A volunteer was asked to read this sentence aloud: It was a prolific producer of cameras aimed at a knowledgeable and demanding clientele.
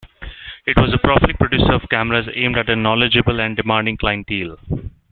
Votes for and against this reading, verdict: 1, 2, rejected